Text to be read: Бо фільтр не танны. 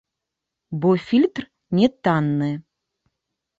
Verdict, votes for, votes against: accepted, 2, 1